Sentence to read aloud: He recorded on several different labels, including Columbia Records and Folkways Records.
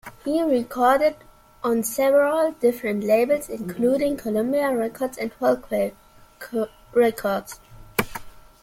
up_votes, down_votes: 0, 2